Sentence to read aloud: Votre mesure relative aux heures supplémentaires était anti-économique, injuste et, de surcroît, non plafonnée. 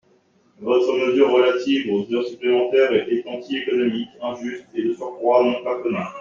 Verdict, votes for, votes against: rejected, 0, 2